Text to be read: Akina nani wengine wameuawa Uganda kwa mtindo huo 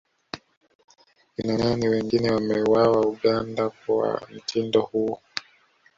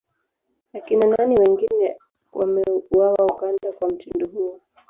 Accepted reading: second